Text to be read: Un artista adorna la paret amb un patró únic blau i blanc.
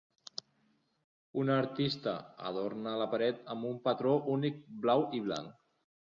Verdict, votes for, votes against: accepted, 2, 0